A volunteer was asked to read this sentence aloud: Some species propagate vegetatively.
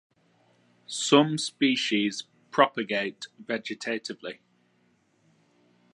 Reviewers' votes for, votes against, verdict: 2, 0, accepted